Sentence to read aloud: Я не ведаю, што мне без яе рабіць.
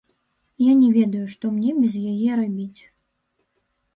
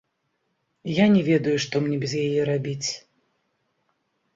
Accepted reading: second